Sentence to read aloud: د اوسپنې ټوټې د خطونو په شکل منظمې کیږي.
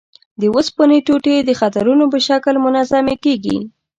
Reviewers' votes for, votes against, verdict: 1, 2, rejected